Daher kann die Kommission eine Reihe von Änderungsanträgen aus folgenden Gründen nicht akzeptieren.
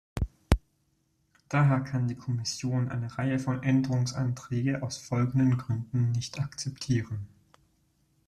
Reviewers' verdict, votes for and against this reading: rejected, 1, 2